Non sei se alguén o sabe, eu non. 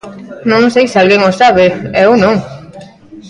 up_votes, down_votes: 0, 2